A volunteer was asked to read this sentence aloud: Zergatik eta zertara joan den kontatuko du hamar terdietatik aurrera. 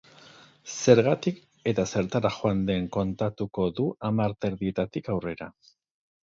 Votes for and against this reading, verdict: 4, 0, accepted